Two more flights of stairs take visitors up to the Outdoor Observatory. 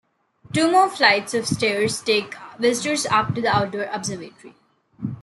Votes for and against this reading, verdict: 2, 0, accepted